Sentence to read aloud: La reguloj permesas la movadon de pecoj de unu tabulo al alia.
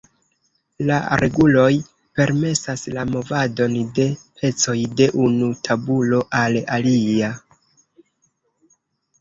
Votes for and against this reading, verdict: 0, 2, rejected